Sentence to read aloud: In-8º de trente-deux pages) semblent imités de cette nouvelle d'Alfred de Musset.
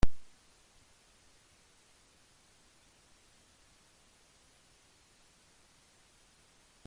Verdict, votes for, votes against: rejected, 0, 2